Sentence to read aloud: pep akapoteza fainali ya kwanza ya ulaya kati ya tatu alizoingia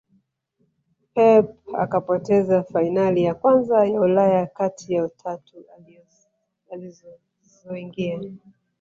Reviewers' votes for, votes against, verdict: 0, 2, rejected